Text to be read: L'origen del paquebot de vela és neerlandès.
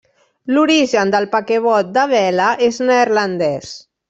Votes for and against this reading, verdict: 0, 2, rejected